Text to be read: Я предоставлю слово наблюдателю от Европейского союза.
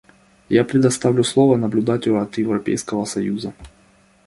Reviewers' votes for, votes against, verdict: 2, 0, accepted